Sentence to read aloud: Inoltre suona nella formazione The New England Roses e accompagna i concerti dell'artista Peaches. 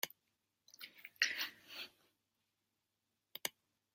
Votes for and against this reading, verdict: 0, 2, rejected